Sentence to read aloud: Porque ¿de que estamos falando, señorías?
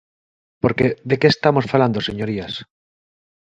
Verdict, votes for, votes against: accepted, 2, 0